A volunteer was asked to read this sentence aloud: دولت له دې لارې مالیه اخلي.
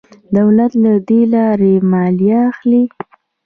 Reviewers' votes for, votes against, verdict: 2, 0, accepted